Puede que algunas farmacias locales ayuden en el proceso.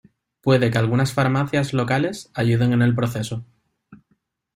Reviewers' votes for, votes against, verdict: 2, 0, accepted